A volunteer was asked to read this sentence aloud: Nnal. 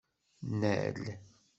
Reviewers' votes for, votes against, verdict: 2, 0, accepted